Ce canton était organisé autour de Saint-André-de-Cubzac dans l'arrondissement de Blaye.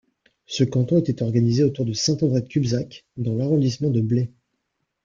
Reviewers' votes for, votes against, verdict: 2, 0, accepted